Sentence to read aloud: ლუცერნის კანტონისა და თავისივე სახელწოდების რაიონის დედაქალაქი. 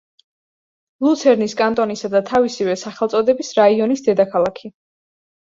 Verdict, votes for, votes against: accepted, 2, 0